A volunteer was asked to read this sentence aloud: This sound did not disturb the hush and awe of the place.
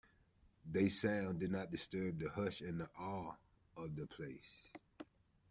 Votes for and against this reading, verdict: 1, 2, rejected